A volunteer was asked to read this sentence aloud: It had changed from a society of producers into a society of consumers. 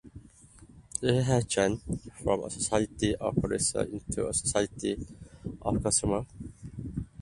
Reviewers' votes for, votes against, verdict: 0, 2, rejected